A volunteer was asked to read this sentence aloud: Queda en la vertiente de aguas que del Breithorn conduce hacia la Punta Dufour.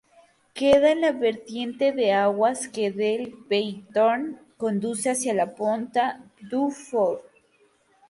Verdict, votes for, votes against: rejected, 0, 2